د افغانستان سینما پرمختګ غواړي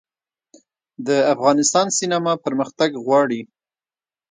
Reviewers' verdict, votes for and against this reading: rejected, 0, 2